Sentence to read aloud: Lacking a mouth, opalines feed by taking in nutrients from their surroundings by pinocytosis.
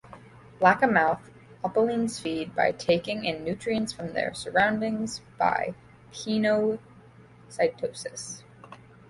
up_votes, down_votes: 0, 2